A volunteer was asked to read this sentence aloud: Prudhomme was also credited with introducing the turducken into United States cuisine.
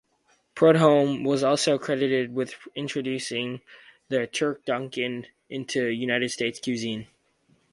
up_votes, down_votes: 0, 2